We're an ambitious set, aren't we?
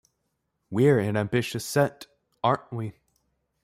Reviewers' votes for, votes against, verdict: 2, 0, accepted